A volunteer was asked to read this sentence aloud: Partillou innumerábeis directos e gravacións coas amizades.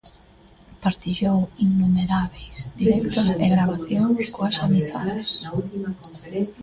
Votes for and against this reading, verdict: 0, 2, rejected